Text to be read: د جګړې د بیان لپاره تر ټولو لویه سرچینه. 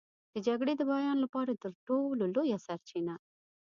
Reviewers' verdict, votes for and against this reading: accepted, 2, 0